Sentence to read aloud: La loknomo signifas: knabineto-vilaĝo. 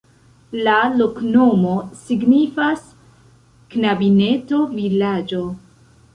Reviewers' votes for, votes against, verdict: 2, 0, accepted